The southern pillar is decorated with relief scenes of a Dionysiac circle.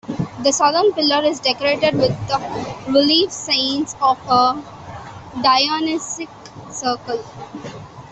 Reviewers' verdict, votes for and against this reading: accepted, 2, 1